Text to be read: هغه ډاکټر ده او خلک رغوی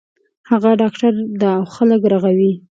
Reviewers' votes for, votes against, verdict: 3, 0, accepted